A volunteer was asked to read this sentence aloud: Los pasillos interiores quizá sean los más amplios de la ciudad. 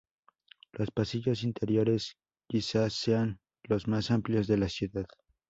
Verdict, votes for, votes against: accepted, 2, 0